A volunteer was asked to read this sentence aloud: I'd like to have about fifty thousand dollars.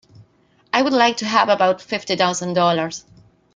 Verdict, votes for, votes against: rejected, 0, 2